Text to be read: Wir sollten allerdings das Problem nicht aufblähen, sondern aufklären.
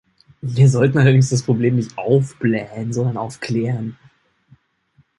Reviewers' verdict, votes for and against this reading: accepted, 2, 0